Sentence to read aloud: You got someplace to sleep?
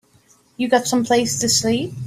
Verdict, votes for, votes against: accepted, 3, 0